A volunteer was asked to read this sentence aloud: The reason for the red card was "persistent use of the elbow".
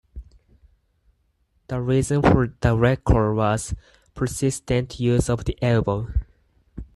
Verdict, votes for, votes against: accepted, 4, 2